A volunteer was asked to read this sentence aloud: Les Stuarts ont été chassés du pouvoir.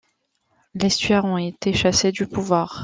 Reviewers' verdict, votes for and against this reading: rejected, 0, 2